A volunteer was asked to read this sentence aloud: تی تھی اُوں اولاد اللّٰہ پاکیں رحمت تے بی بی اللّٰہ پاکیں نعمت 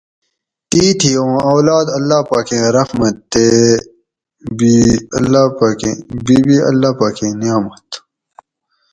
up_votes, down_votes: 2, 2